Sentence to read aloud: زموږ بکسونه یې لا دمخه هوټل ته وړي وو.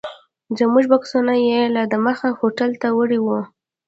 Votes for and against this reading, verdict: 1, 2, rejected